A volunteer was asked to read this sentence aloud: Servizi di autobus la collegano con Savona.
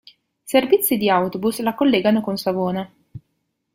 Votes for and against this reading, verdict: 2, 0, accepted